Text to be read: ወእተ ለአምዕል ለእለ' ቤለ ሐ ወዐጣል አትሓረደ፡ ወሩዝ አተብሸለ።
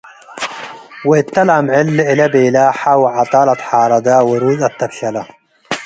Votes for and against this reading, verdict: 2, 0, accepted